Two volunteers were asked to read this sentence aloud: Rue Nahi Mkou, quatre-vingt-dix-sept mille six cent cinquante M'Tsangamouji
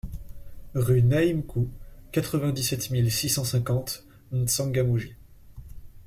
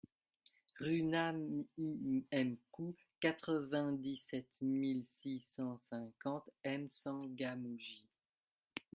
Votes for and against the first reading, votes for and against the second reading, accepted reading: 2, 0, 1, 2, first